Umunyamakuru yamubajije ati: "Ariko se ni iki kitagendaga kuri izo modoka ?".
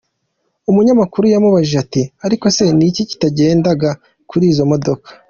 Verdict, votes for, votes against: accepted, 2, 1